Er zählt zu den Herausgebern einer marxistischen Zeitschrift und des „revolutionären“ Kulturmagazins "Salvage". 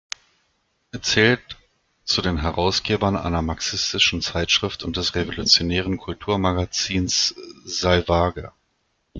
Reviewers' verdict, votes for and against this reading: accepted, 2, 0